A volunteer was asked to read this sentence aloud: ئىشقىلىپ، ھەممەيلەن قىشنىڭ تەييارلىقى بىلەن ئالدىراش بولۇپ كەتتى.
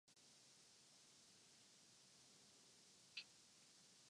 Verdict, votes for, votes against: rejected, 0, 2